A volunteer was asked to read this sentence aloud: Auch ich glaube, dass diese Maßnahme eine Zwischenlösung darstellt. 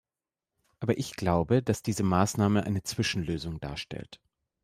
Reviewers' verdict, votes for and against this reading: rejected, 1, 2